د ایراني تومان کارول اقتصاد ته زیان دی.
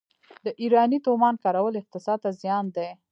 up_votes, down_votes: 1, 2